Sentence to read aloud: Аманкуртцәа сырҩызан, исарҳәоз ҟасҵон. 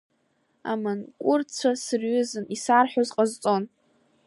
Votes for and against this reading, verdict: 2, 0, accepted